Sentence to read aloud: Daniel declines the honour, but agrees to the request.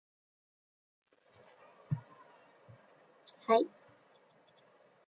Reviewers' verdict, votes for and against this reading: rejected, 0, 2